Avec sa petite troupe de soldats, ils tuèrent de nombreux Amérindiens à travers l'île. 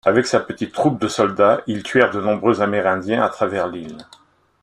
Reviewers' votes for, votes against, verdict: 2, 0, accepted